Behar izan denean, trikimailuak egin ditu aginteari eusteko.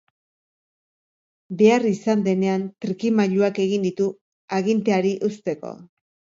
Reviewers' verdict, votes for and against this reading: accepted, 2, 0